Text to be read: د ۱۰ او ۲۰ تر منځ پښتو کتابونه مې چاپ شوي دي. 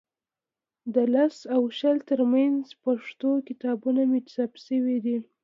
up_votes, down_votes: 0, 2